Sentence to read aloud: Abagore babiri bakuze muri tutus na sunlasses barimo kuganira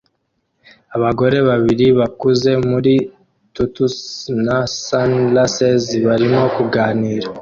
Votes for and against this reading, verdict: 2, 0, accepted